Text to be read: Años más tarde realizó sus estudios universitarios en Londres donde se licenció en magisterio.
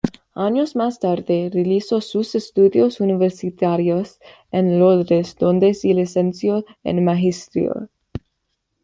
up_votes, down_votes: 1, 2